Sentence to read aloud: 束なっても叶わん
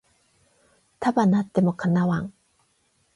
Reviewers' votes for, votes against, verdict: 8, 0, accepted